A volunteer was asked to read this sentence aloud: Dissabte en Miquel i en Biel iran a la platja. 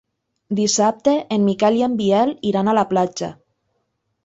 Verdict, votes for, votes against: accepted, 4, 0